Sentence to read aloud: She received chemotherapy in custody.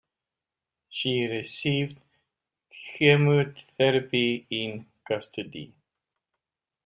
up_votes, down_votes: 2, 1